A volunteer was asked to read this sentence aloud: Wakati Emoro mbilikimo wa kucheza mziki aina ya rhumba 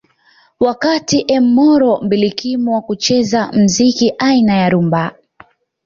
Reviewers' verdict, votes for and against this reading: accepted, 2, 0